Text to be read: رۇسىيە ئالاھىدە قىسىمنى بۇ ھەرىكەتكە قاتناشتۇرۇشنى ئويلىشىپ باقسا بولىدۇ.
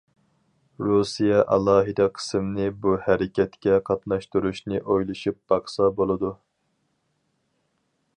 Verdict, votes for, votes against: accepted, 4, 0